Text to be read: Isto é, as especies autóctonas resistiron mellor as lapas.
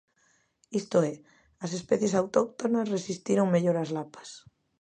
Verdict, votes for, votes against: accepted, 2, 0